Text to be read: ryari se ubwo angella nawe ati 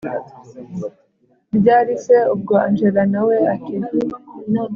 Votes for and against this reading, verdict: 2, 0, accepted